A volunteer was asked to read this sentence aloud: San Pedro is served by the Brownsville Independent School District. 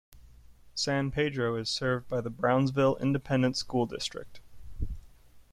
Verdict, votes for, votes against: accepted, 2, 0